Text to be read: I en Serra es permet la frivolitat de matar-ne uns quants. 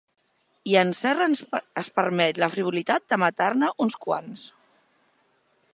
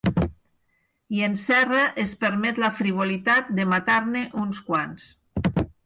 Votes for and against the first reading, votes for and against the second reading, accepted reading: 1, 3, 4, 0, second